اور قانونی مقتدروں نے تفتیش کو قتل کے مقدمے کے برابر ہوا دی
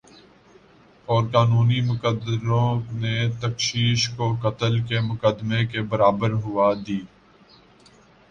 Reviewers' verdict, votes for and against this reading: accepted, 2, 0